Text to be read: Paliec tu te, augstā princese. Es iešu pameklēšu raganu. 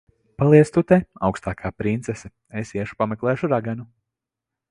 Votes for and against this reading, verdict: 0, 2, rejected